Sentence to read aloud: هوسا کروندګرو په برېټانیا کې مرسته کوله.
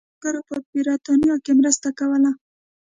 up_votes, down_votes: 0, 2